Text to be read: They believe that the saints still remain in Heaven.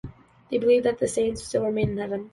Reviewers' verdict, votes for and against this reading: accepted, 2, 0